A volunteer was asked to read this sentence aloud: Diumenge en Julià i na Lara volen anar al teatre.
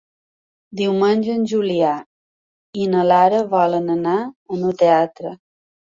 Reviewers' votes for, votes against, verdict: 0, 3, rejected